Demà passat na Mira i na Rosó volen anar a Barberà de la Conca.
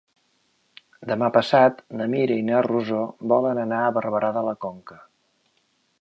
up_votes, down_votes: 2, 0